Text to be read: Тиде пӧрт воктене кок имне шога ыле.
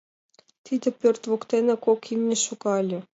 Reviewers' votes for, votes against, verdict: 2, 0, accepted